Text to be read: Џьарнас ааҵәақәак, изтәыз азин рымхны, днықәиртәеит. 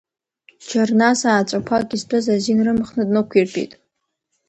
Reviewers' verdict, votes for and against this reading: accepted, 2, 0